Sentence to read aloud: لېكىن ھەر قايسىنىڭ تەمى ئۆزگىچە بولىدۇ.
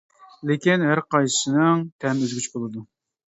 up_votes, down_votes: 2, 1